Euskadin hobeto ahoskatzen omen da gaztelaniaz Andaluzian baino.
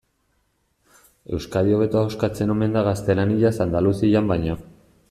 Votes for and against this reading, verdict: 0, 2, rejected